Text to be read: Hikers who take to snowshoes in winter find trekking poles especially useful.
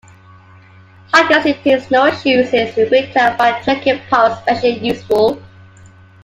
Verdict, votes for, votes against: rejected, 0, 2